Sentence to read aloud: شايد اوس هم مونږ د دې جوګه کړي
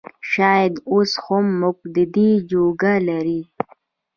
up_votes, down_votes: 1, 2